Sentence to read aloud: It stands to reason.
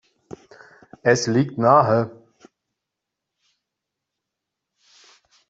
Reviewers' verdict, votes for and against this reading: rejected, 0, 2